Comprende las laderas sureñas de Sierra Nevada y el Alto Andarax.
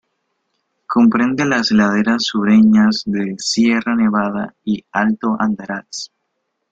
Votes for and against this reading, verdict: 2, 0, accepted